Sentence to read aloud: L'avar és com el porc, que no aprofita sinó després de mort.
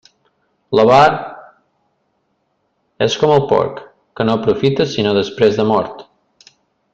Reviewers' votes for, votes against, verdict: 2, 0, accepted